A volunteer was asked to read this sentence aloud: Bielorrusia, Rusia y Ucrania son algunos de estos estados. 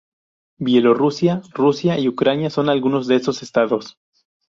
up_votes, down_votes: 0, 2